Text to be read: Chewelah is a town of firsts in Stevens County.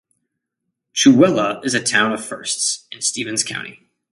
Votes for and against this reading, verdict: 2, 0, accepted